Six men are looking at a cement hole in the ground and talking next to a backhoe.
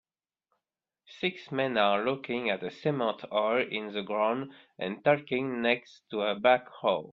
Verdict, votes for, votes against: rejected, 0, 2